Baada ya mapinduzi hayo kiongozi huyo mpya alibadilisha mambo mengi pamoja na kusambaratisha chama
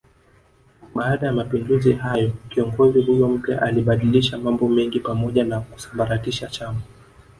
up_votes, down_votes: 1, 2